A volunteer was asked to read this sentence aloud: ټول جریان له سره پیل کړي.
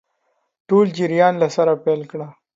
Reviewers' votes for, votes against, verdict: 2, 1, accepted